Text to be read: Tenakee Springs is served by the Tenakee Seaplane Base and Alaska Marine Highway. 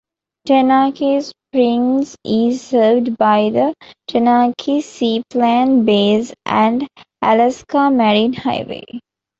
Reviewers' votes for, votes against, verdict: 0, 2, rejected